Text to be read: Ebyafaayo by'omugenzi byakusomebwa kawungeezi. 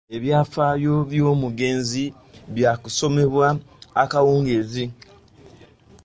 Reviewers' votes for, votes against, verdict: 0, 2, rejected